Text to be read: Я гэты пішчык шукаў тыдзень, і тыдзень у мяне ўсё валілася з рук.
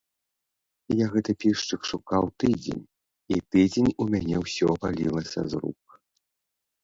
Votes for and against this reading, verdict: 2, 0, accepted